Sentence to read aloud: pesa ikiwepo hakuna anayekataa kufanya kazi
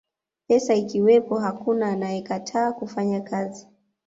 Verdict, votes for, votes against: accepted, 2, 0